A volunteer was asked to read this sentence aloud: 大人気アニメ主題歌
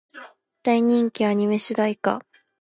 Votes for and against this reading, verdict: 2, 0, accepted